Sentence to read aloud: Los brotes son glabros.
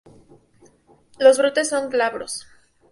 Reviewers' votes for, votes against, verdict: 2, 0, accepted